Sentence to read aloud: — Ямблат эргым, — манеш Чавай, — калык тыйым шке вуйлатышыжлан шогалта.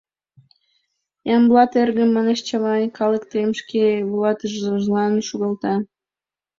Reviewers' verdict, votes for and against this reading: rejected, 1, 4